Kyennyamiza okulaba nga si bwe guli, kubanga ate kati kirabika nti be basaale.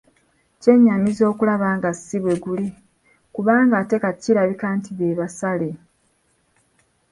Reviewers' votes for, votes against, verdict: 1, 2, rejected